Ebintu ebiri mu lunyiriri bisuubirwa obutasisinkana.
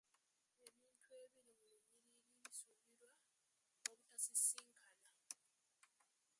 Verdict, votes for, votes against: rejected, 0, 2